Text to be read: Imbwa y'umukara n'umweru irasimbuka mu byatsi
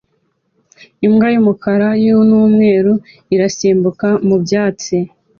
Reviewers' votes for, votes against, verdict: 2, 0, accepted